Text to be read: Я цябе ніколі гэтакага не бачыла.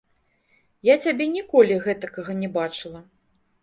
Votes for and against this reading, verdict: 2, 0, accepted